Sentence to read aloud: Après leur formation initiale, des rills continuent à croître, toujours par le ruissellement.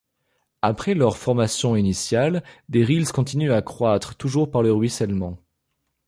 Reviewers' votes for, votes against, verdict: 2, 0, accepted